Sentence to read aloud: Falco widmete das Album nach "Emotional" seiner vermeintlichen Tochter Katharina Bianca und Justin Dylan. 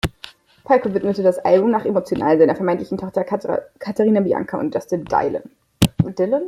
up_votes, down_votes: 1, 2